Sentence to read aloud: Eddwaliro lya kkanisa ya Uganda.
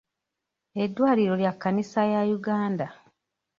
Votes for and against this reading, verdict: 2, 0, accepted